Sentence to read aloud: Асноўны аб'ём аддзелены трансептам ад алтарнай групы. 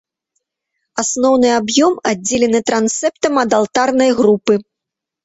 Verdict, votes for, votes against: accepted, 2, 0